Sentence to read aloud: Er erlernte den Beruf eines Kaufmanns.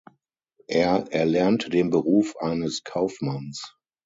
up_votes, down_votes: 6, 0